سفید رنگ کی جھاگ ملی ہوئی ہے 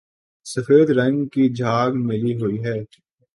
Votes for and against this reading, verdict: 4, 0, accepted